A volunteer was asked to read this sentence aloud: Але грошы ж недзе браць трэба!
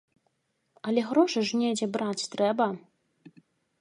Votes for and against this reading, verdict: 2, 0, accepted